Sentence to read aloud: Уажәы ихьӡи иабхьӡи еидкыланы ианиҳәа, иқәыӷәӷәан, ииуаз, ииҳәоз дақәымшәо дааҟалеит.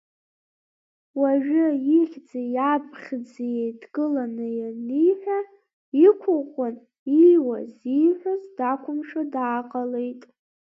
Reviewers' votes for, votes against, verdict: 2, 1, accepted